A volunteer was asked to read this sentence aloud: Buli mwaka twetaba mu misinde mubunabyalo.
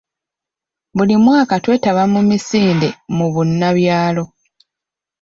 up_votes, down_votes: 1, 2